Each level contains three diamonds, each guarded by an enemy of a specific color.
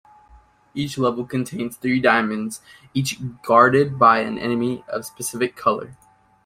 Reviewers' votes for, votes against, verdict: 1, 2, rejected